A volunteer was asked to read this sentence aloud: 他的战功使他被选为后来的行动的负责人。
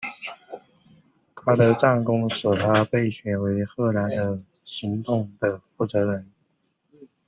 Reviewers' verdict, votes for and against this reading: rejected, 1, 2